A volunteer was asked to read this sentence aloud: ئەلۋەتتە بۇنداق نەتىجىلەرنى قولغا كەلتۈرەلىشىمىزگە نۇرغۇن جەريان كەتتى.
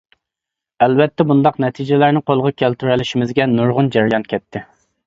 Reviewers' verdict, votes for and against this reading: accepted, 2, 0